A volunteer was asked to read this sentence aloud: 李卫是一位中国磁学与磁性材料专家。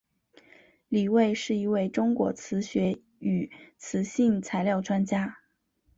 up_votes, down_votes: 3, 0